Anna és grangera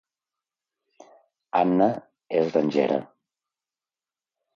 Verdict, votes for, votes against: accepted, 2, 0